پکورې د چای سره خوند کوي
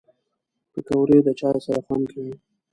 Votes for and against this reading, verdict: 2, 0, accepted